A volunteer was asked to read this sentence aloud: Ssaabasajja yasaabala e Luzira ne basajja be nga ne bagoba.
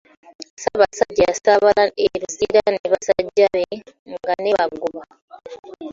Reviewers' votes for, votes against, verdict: 0, 2, rejected